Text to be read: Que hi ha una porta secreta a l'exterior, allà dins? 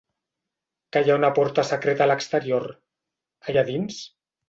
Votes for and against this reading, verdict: 2, 0, accepted